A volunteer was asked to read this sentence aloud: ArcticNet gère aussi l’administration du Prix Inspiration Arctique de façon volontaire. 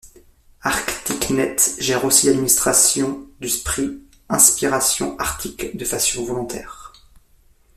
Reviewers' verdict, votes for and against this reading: accepted, 2, 1